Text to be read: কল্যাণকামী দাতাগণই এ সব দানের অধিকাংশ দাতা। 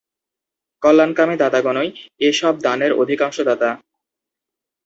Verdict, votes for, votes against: accepted, 2, 0